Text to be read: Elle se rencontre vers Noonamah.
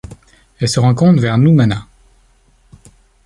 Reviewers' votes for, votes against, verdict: 1, 2, rejected